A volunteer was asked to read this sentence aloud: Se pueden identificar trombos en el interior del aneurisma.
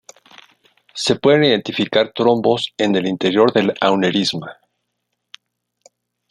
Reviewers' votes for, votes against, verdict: 0, 2, rejected